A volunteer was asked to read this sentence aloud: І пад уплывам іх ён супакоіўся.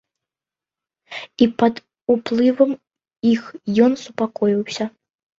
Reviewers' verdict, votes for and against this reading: accepted, 2, 0